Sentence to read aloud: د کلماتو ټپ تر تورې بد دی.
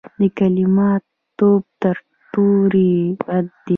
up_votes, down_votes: 1, 2